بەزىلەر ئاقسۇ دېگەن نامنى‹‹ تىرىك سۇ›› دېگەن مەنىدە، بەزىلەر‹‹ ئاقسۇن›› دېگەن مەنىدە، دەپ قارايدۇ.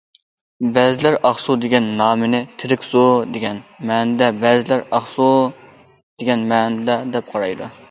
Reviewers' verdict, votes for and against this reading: accepted, 2, 1